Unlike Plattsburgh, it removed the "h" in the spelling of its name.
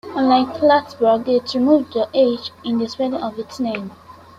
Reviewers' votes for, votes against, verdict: 2, 1, accepted